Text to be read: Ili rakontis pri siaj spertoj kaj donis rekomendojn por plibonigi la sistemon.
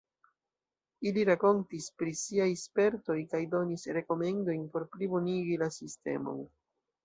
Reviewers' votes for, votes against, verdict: 2, 0, accepted